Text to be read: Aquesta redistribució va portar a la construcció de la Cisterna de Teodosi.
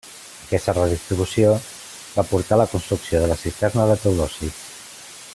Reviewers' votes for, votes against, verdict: 2, 0, accepted